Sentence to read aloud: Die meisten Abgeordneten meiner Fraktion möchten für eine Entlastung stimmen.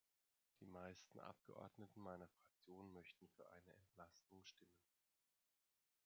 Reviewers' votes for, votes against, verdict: 0, 2, rejected